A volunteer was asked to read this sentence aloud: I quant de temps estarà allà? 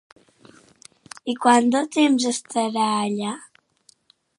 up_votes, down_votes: 3, 0